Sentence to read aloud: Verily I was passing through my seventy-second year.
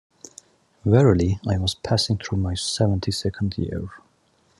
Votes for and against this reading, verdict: 2, 0, accepted